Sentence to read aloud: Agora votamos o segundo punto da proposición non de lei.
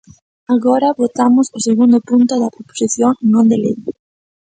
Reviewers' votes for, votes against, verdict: 2, 0, accepted